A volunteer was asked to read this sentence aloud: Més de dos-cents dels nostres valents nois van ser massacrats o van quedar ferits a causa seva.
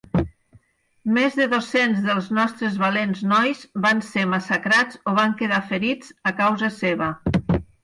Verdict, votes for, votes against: accepted, 6, 0